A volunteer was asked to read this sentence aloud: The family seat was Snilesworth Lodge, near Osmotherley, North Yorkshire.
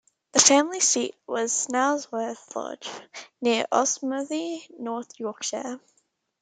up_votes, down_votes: 2, 0